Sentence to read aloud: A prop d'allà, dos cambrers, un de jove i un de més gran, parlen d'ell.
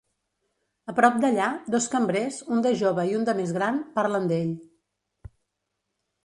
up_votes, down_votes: 2, 0